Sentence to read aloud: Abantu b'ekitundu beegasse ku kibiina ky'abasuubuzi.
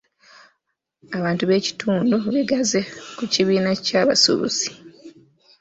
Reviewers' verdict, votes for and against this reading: rejected, 0, 3